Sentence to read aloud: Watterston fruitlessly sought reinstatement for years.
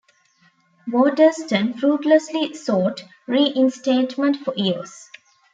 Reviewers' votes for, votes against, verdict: 2, 0, accepted